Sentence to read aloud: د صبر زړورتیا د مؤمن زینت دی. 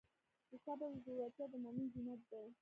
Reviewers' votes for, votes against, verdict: 1, 2, rejected